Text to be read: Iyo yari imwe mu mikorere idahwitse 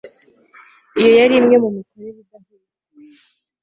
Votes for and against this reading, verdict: 1, 2, rejected